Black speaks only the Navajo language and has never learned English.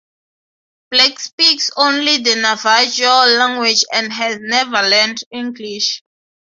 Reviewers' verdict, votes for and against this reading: rejected, 3, 3